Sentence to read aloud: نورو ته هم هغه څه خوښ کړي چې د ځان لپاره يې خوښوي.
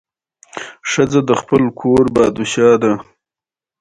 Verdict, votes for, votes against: accepted, 2, 0